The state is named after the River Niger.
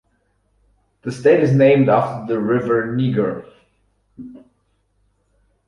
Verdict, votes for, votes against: rejected, 2, 4